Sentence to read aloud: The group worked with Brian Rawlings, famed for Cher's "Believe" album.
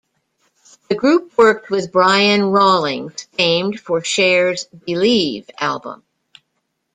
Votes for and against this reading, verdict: 2, 0, accepted